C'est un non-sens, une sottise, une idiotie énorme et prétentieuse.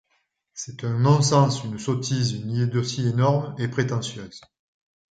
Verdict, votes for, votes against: accepted, 2, 0